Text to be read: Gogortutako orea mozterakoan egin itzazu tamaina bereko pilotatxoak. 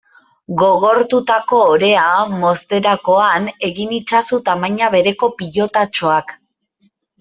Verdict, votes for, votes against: accepted, 3, 1